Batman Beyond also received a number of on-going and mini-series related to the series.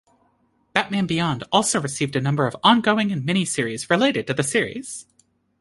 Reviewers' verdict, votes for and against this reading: accepted, 2, 0